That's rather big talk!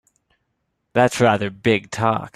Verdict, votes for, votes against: accepted, 2, 0